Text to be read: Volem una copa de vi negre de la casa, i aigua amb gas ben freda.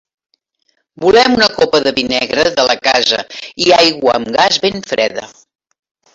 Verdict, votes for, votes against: rejected, 1, 2